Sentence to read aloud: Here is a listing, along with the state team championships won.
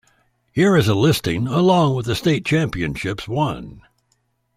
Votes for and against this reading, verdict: 0, 2, rejected